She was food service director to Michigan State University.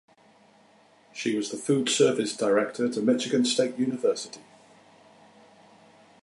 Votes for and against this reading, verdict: 0, 2, rejected